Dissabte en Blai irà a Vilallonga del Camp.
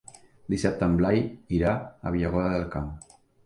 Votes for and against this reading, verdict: 1, 2, rejected